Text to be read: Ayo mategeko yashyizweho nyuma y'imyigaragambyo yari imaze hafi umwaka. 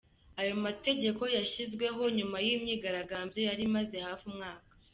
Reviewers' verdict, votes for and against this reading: accepted, 2, 0